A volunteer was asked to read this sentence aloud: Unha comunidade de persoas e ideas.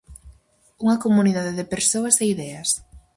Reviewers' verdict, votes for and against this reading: accepted, 4, 0